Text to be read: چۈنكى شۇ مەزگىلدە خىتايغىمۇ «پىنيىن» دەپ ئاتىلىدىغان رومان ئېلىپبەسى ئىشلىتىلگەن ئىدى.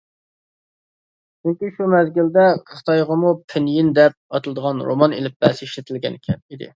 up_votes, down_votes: 0, 2